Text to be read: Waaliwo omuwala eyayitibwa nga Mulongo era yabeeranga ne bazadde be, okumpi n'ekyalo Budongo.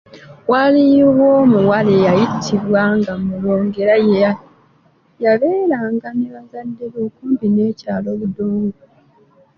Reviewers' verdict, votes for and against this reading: rejected, 1, 2